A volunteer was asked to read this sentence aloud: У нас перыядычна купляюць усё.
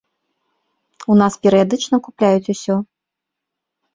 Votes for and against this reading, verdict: 2, 0, accepted